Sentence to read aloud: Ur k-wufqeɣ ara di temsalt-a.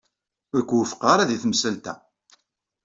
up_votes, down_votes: 2, 0